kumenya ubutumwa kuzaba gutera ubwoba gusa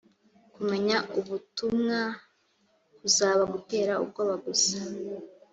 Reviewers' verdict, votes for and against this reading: accepted, 2, 0